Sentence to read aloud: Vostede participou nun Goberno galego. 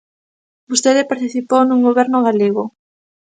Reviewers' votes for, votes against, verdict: 2, 0, accepted